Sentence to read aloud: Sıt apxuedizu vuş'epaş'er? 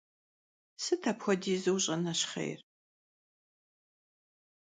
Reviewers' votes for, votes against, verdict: 1, 2, rejected